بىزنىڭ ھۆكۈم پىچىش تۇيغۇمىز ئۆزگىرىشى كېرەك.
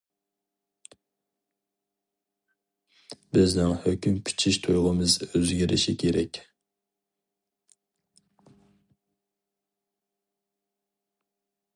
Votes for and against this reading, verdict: 2, 0, accepted